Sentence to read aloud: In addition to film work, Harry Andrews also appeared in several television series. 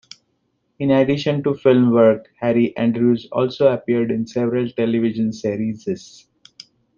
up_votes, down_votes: 0, 2